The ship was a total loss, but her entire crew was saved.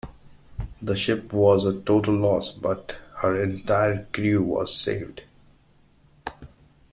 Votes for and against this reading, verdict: 2, 0, accepted